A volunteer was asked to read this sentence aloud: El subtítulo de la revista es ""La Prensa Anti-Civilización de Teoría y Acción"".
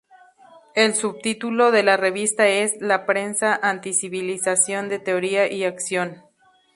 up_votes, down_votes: 2, 0